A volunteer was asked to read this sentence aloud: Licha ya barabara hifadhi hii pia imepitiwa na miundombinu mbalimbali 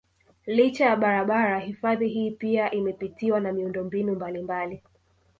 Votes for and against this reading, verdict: 2, 1, accepted